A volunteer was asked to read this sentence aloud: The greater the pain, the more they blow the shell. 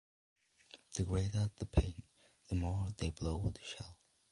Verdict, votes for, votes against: accepted, 2, 0